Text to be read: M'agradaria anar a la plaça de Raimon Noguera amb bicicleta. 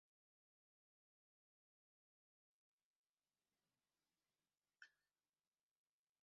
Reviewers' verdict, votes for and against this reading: rejected, 0, 2